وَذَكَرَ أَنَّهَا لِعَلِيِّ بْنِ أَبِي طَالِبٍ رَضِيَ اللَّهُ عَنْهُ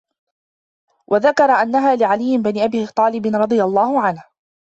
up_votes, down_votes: 2, 1